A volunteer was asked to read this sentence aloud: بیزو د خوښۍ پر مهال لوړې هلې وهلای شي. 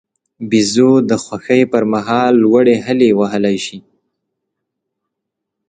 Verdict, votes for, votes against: accepted, 3, 0